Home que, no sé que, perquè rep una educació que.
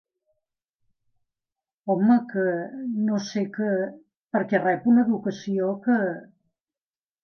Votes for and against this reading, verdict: 2, 0, accepted